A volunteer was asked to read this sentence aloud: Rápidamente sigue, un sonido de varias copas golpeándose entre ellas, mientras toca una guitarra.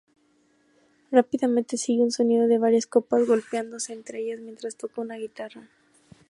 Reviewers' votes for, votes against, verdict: 2, 0, accepted